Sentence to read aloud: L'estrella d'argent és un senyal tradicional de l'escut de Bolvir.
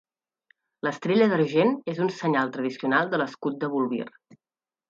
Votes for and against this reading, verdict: 0, 2, rejected